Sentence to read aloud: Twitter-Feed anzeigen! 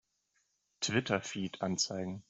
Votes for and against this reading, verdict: 2, 0, accepted